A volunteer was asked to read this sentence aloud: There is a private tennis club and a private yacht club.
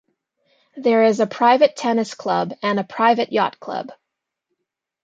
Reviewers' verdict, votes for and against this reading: accepted, 2, 0